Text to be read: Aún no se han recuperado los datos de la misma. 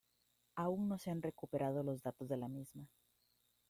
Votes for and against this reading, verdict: 0, 2, rejected